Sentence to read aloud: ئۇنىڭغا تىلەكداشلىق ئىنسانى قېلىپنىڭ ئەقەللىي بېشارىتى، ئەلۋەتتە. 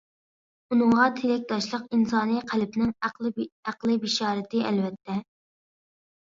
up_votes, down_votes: 0, 2